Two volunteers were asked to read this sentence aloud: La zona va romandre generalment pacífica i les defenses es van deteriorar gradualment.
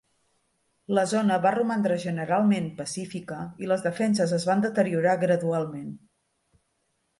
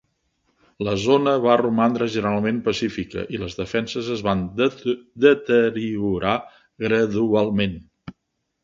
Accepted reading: first